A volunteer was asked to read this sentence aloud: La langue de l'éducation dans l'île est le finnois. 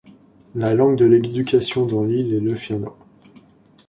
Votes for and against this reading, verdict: 2, 1, accepted